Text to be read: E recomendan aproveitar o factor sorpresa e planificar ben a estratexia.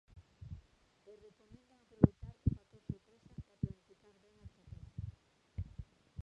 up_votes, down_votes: 0, 2